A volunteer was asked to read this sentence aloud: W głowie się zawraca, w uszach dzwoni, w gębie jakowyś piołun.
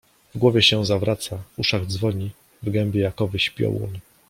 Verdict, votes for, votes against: accepted, 2, 0